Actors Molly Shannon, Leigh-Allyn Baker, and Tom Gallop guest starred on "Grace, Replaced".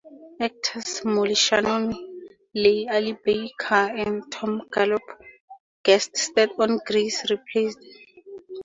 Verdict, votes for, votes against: accepted, 4, 2